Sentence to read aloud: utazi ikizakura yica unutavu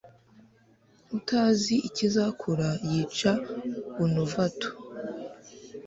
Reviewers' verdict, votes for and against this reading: rejected, 1, 2